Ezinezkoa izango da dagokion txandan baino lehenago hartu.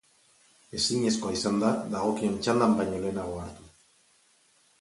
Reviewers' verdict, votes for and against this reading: rejected, 2, 4